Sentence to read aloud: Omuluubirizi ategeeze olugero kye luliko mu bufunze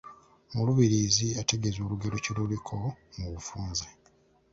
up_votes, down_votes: 0, 2